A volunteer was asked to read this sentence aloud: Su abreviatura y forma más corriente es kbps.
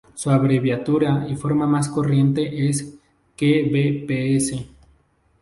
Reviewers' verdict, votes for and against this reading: rejected, 0, 2